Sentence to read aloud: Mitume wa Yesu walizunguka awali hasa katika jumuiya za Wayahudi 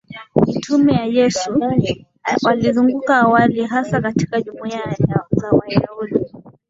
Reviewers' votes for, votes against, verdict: 1, 3, rejected